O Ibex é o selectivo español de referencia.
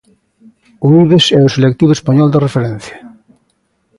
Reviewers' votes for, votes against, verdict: 2, 0, accepted